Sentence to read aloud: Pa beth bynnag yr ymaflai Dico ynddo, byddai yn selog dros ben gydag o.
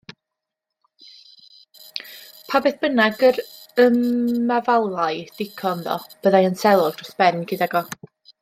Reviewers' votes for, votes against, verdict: 1, 2, rejected